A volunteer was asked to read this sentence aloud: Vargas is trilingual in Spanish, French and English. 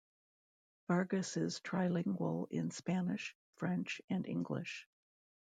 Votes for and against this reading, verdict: 2, 0, accepted